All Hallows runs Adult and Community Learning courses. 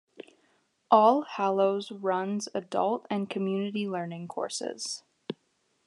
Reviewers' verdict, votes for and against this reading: accepted, 2, 0